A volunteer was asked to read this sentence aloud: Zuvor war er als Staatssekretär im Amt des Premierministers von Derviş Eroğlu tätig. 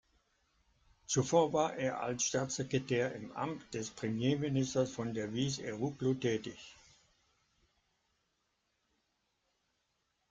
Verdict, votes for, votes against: accepted, 2, 0